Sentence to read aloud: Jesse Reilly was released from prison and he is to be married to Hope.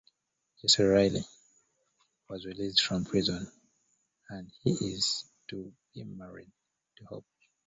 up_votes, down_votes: 0, 2